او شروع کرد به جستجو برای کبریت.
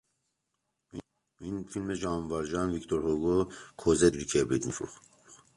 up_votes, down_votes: 0, 2